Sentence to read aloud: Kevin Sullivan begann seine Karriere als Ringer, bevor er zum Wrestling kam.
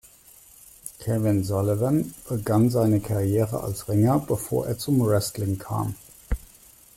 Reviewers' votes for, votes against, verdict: 2, 0, accepted